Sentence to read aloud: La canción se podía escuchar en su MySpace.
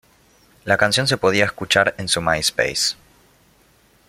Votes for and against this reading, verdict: 1, 2, rejected